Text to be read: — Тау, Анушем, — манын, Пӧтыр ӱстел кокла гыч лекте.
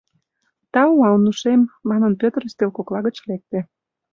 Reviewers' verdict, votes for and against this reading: accepted, 2, 0